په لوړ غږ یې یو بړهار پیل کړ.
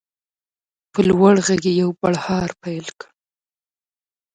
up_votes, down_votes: 2, 0